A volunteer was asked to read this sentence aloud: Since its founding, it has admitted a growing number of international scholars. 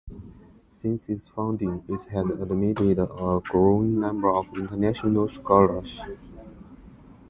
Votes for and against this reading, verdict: 1, 2, rejected